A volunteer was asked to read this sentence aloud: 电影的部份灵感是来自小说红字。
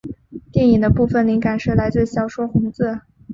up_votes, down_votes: 4, 0